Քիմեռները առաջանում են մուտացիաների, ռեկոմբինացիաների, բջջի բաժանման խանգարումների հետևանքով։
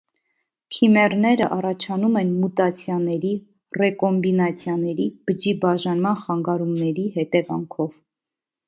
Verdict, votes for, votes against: accepted, 2, 0